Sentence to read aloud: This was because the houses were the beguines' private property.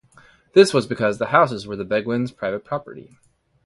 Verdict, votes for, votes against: accepted, 2, 0